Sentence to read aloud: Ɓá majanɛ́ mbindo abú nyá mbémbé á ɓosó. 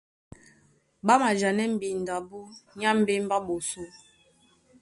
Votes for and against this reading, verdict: 2, 0, accepted